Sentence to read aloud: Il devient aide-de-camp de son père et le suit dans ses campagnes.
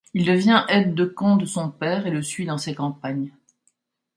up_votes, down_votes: 2, 0